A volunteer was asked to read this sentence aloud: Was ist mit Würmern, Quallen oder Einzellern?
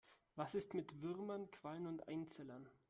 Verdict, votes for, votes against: rejected, 0, 2